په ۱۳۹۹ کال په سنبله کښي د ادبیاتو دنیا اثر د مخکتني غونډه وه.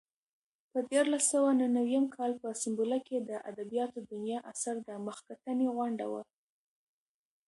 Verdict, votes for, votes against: rejected, 0, 2